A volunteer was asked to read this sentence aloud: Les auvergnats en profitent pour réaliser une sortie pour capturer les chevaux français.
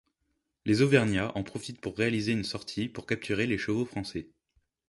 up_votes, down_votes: 2, 0